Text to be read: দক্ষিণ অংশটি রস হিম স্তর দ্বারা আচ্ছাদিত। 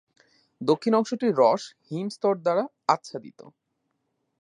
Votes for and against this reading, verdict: 2, 0, accepted